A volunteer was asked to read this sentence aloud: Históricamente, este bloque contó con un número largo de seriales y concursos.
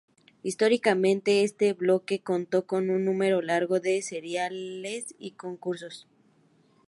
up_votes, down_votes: 4, 0